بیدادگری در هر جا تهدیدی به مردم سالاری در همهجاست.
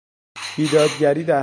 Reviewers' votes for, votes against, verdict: 1, 2, rejected